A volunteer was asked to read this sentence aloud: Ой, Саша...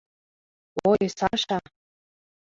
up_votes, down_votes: 0, 2